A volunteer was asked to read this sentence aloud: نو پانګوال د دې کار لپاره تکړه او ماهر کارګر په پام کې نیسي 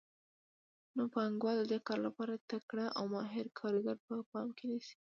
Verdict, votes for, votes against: accepted, 2, 0